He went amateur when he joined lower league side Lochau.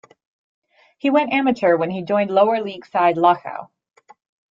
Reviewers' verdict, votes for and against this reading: accepted, 2, 0